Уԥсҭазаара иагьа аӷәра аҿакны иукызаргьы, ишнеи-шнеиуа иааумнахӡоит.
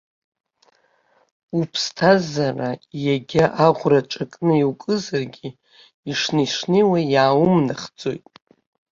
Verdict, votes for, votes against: rejected, 1, 2